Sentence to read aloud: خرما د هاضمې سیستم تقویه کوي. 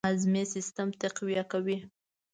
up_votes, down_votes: 0, 2